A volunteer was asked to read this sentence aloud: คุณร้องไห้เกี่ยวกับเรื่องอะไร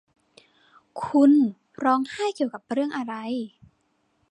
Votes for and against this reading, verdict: 2, 0, accepted